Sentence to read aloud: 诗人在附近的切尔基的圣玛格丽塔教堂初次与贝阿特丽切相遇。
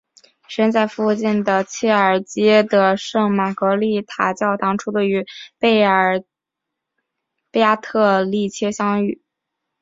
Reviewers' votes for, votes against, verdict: 2, 2, rejected